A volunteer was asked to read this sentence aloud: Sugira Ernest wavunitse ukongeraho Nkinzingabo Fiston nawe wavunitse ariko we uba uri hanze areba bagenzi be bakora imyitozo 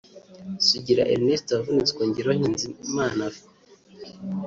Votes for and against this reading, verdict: 1, 2, rejected